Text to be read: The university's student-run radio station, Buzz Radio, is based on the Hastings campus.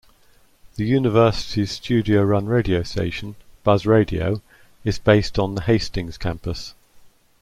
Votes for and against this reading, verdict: 0, 2, rejected